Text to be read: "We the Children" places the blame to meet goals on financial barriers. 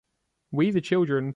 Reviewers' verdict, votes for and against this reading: rejected, 0, 2